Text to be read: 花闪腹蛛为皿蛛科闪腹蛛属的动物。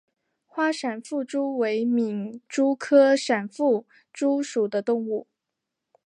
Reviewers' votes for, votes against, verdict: 3, 0, accepted